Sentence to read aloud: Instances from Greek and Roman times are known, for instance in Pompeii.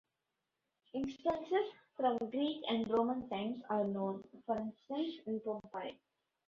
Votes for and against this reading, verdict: 2, 3, rejected